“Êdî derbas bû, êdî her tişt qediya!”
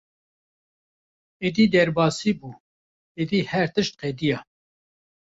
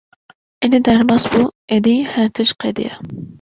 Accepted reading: second